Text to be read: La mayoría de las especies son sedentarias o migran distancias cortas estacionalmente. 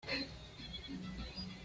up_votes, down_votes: 1, 2